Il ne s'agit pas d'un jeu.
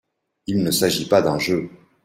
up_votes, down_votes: 2, 0